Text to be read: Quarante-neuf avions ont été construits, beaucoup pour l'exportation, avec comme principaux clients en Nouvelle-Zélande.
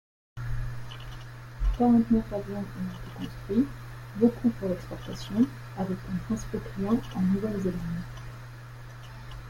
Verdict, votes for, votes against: rejected, 0, 2